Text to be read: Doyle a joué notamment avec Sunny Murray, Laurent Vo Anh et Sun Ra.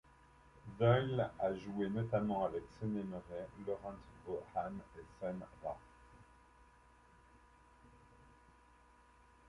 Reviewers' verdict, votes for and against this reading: accepted, 2, 0